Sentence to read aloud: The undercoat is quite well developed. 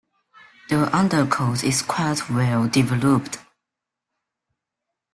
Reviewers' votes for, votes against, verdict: 2, 0, accepted